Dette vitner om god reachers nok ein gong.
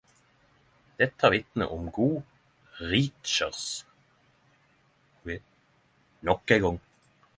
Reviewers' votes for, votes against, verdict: 0, 10, rejected